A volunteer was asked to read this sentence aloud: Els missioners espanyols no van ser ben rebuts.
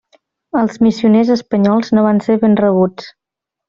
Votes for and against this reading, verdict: 3, 0, accepted